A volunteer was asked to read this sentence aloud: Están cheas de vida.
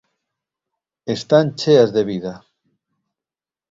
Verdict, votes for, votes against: accepted, 2, 0